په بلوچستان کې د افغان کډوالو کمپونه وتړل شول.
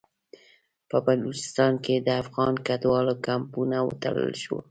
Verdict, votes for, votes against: accepted, 2, 0